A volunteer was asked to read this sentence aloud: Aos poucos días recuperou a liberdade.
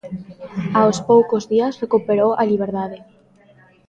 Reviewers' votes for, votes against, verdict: 2, 0, accepted